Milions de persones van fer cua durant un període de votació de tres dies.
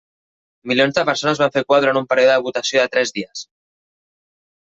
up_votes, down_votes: 2, 1